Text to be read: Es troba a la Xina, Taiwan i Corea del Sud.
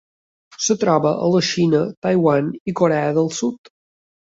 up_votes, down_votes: 1, 2